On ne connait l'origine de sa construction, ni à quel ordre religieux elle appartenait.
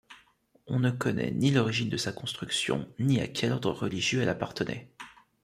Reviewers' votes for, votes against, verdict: 1, 2, rejected